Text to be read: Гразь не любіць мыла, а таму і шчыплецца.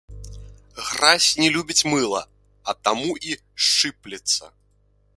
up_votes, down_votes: 0, 3